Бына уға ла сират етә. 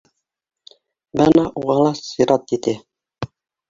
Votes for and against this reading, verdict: 1, 2, rejected